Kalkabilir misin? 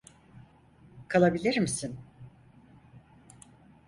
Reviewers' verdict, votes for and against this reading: rejected, 2, 4